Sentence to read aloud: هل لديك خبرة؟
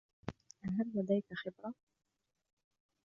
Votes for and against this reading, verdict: 1, 2, rejected